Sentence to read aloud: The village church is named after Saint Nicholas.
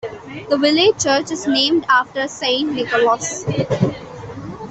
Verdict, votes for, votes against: rejected, 0, 3